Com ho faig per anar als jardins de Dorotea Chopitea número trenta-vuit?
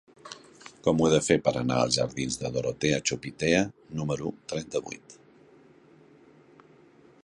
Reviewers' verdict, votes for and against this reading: rejected, 0, 2